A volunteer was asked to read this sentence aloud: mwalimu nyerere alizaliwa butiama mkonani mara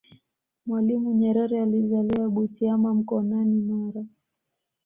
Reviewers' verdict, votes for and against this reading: accepted, 2, 1